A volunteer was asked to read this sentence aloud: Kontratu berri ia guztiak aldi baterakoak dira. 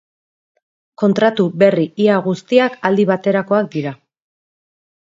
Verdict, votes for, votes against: accepted, 4, 0